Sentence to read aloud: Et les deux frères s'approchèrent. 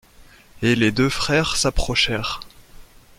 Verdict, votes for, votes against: accepted, 2, 0